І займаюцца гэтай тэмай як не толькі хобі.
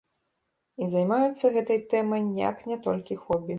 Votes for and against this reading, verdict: 1, 2, rejected